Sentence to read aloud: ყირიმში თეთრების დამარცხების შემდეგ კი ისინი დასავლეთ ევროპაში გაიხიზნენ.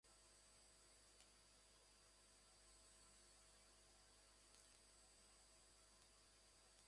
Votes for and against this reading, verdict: 0, 3, rejected